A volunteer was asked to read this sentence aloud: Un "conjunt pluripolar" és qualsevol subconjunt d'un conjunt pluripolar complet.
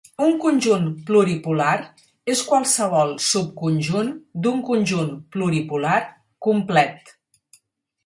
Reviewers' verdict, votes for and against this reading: accepted, 6, 0